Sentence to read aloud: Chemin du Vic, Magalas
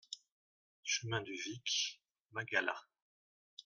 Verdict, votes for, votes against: accepted, 2, 0